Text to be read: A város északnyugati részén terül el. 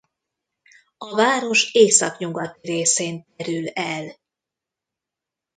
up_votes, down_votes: 0, 2